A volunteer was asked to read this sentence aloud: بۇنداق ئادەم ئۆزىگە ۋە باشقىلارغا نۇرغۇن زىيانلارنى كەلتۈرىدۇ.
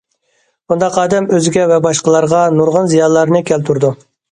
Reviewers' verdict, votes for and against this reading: accepted, 2, 0